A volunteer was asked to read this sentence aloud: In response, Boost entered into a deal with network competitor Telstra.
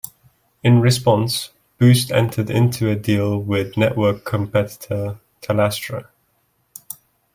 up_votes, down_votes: 1, 2